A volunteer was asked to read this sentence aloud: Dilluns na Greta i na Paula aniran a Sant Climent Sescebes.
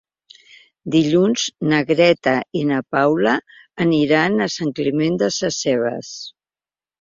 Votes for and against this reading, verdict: 0, 2, rejected